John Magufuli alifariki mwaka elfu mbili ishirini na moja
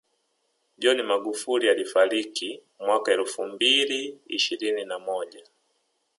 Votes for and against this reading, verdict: 1, 2, rejected